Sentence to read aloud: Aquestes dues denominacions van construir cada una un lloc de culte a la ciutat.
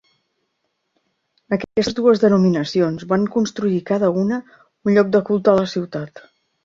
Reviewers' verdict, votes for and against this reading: accepted, 2, 1